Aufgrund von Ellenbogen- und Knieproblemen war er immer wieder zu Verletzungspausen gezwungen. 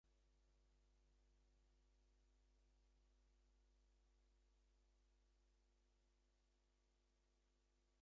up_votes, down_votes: 0, 2